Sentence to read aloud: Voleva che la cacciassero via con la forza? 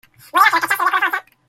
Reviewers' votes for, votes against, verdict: 1, 2, rejected